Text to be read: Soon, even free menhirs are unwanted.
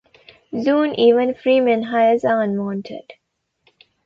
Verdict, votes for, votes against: accepted, 2, 1